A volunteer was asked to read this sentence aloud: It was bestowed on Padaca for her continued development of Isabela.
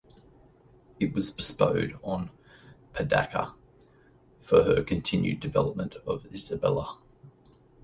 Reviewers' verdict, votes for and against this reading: rejected, 1, 2